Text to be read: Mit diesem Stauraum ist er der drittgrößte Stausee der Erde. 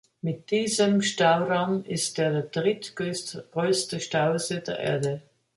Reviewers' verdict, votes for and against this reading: rejected, 1, 3